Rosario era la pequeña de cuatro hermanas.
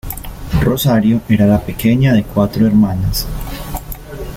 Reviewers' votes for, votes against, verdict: 2, 0, accepted